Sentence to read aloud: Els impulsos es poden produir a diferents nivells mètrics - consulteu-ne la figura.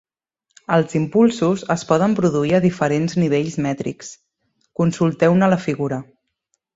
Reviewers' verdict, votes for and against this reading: accepted, 2, 0